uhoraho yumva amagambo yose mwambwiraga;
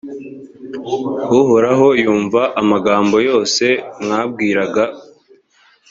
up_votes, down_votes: 2, 0